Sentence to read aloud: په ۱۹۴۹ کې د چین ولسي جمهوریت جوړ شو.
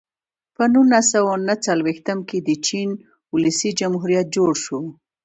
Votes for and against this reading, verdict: 0, 2, rejected